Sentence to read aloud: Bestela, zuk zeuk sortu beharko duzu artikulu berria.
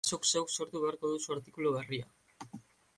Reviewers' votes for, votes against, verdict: 1, 2, rejected